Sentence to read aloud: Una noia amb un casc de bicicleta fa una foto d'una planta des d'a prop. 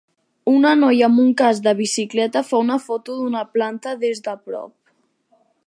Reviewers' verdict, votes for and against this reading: accepted, 3, 0